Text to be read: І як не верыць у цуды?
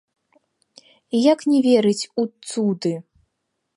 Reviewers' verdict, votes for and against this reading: accepted, 2, 1